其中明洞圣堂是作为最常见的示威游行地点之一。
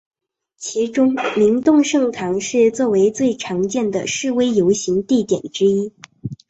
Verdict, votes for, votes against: rejected, 1, 2